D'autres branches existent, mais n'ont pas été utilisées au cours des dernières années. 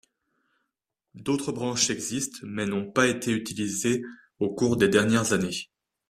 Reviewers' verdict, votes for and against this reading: accepted, 2, 0